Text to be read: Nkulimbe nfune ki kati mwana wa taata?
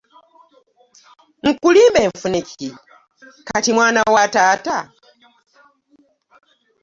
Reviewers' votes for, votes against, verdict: 1, 2, rejected